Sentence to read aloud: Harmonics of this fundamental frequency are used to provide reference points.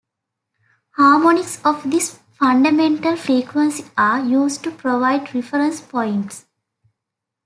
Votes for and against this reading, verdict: 2, 0, accepted